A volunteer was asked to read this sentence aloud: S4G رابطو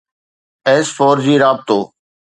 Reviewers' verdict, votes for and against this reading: rejected, 0, 2